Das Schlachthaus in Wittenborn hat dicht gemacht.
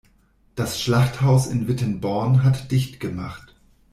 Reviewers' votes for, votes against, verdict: 2, 0, accepted